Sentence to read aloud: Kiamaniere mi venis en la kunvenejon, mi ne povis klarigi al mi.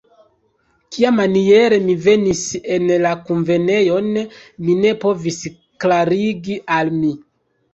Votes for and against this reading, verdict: 2, 0, accepted